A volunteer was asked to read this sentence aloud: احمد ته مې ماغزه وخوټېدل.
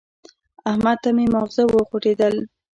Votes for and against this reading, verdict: 2, 0, accepted